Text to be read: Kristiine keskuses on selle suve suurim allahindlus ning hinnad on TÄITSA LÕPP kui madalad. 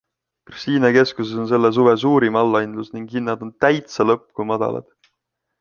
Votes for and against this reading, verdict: 2, 0, accepted